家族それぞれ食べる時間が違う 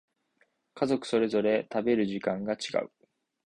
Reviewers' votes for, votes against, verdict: 2, 0, accepted